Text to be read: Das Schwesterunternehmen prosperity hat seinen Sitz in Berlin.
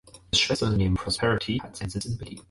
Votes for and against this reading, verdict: 4, 2, accepted